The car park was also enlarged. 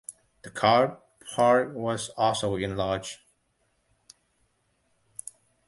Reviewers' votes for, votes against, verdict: 1, 2, rejected